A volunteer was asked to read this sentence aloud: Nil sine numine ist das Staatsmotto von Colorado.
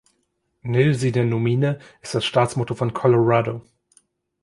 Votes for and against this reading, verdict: 0, 2, rejected